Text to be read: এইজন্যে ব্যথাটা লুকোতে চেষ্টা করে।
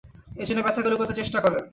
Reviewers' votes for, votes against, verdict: 2, 0, accepted